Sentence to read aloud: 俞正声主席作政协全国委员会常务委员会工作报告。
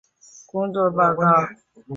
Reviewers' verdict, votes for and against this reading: rejected, 0, 2